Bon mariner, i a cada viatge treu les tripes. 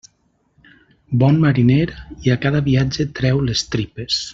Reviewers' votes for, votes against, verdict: 3, 1, accepted